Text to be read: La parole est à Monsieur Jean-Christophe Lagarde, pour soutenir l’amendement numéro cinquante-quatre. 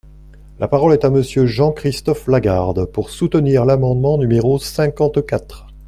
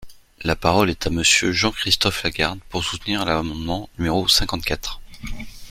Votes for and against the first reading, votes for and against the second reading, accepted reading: 2, 0, 1, 2, first